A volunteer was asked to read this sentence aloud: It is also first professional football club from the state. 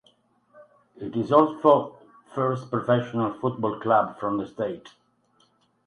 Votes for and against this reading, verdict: 2, 2, rejected